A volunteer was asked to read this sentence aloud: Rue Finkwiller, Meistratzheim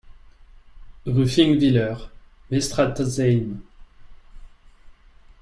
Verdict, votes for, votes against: rejected, 0, 2